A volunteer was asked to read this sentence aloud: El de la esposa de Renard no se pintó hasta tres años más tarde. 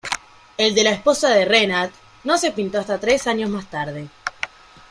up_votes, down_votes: 2, 0